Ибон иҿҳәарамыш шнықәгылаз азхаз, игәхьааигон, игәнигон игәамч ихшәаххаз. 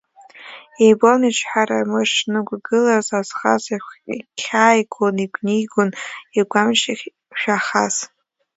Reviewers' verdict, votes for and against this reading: rejected, 0, 2